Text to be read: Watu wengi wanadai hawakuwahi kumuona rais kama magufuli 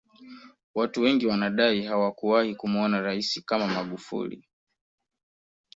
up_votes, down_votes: 2, 0